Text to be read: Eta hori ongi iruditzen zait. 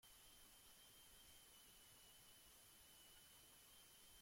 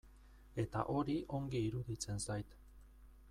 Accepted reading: second